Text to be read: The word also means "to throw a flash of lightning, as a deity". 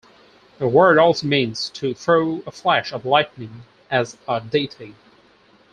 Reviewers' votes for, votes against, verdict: 4, 0, accepted